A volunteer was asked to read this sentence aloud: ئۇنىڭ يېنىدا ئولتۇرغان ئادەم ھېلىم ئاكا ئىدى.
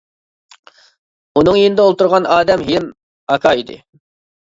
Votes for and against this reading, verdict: 0, 2, rejected